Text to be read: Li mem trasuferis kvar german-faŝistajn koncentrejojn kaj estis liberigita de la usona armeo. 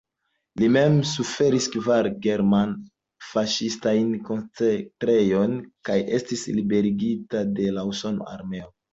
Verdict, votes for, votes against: rejected, 1, 2